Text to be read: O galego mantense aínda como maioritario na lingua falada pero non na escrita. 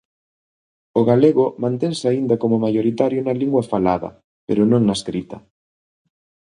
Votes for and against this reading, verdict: 2, 0, accepted